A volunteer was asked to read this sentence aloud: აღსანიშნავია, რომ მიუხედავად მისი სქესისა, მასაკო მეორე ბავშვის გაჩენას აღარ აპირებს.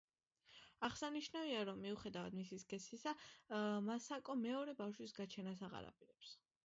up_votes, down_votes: 2, 1